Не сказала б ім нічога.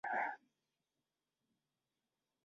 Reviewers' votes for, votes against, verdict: 0, 2, rejected